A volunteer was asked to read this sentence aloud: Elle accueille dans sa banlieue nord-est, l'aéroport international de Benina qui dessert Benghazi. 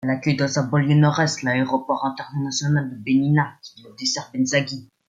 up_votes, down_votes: 0, 2